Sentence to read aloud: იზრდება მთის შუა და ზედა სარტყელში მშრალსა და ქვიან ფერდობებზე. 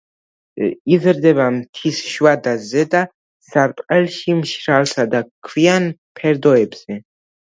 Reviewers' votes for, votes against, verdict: 1, 2, rejected